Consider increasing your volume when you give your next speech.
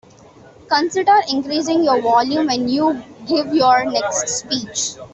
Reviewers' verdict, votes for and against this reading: accepted, 2, 0